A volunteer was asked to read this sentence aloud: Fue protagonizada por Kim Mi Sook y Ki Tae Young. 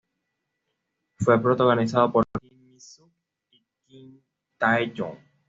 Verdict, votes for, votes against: rejected, 1, 2